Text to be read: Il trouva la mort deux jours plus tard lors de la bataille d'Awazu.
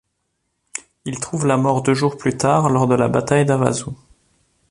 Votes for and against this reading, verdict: 1, 2, rejected